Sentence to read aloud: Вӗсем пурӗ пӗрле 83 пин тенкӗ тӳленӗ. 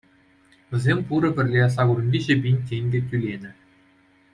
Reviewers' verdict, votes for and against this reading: rejected, 0, 2